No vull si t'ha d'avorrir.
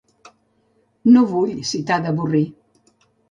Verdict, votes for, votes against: accepted, 2, 0